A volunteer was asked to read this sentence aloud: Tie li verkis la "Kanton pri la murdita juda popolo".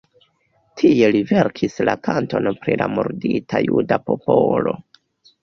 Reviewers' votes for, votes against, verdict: 1, 2, rejected